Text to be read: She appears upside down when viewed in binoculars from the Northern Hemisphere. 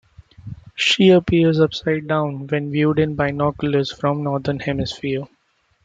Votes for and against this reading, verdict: 1, 2, rejected